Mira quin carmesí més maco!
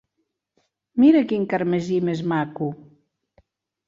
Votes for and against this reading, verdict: 4, 0, accepted